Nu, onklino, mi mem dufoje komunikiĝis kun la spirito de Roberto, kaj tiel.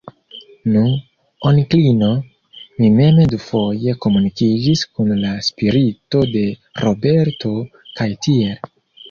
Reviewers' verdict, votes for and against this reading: accepted, 2, 0